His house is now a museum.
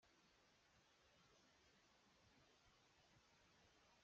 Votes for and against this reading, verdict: 0, 2, rejected